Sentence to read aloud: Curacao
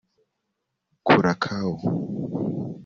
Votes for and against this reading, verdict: 2, 0, accepted